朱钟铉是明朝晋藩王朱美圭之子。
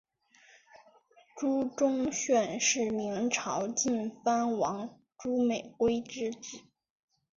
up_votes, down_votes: 2, 0